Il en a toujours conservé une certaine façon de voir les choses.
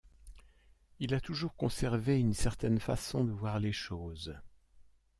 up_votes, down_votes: 0, 2